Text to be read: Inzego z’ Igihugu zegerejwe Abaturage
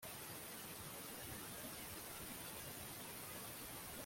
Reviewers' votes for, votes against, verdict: 0, 2, rejected